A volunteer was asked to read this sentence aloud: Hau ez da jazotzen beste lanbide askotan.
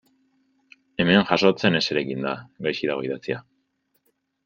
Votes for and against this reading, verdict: 0, 2, rejected